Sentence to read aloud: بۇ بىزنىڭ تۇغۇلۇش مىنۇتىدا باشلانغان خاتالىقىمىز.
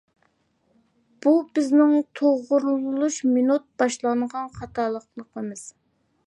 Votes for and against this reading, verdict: 0, 2, rejected